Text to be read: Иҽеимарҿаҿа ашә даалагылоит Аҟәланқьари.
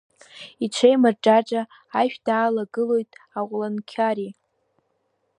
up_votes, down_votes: 1, 2